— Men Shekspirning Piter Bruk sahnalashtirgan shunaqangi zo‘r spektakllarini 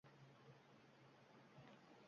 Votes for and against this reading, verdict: 0, 2, rejected